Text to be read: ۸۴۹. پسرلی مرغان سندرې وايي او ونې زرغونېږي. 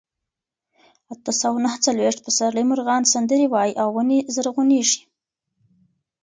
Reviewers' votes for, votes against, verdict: 0, 2, rejected